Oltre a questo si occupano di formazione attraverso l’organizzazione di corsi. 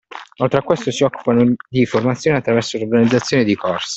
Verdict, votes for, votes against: accepted, 2, 0